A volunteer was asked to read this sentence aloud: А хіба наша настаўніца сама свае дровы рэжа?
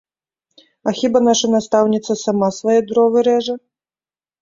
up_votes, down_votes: 1, 2